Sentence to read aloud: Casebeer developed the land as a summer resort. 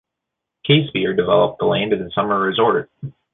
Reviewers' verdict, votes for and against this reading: accepted, 3, 1